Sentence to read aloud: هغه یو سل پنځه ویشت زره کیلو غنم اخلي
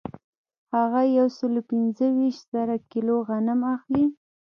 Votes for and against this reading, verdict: 1, 2, rejected